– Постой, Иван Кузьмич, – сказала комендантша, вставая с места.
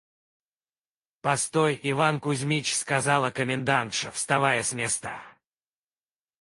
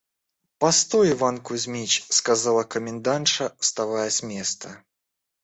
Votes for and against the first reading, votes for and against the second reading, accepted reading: 2, 4, 2, 0, second